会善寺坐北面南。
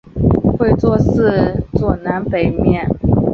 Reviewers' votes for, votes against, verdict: 0, 2, rejected